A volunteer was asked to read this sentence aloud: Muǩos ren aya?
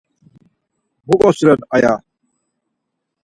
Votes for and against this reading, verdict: 4, 2, accepted